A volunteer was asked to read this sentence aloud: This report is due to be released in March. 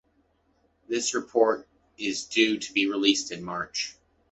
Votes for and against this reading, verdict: 2, 0, accepted